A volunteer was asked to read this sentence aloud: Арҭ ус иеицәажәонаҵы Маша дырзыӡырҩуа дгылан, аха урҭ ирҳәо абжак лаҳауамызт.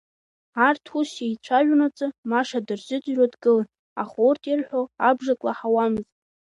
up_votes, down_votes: 1, 2